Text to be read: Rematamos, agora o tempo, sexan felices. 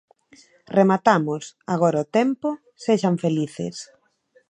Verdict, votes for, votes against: accepted, 2, 0